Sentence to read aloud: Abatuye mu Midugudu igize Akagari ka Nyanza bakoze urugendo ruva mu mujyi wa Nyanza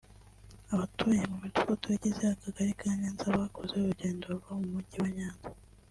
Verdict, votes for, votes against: rejected, 0, 2